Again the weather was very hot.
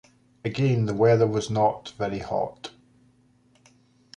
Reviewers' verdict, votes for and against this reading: rejected, 1, 2